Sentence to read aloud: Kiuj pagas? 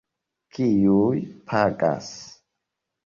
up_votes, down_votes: 2, 0